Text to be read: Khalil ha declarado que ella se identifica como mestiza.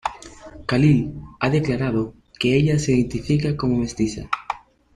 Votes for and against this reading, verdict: 3, 1, accepted